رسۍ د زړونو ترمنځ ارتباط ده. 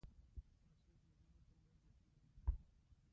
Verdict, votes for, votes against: rejected, 1, 2